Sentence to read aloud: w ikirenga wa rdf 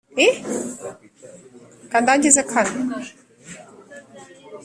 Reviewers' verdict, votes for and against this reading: rejected, 1, 3